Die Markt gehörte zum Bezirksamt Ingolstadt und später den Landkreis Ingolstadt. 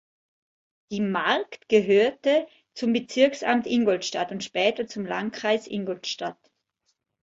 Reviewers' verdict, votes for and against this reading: rejected, 1, 2